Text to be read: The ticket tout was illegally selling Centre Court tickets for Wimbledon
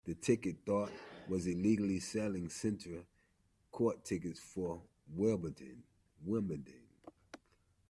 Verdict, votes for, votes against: rejected, 0, 2